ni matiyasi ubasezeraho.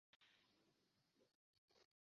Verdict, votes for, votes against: rejected, 0, 2